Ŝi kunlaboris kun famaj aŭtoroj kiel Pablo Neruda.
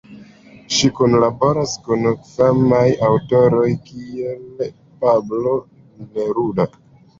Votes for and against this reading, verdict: 0, 2, rejected